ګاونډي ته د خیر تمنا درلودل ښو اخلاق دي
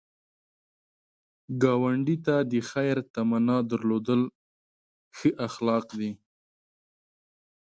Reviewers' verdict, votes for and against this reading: accepted, 2, 0